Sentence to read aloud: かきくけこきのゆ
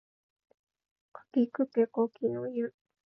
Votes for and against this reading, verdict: 2, 1, accepted